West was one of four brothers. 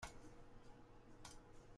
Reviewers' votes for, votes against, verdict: 0, 2, rejected